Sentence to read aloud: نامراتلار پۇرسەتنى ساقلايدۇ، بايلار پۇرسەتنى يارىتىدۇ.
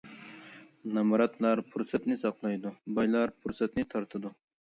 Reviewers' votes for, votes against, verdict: 0, 2, rejected